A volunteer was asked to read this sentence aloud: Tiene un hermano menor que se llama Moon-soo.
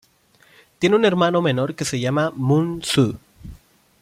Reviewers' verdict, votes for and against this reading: accepted, 2, 0